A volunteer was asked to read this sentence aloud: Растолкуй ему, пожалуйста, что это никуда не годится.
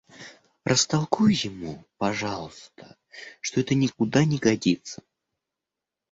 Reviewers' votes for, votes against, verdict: 2, 0, accepted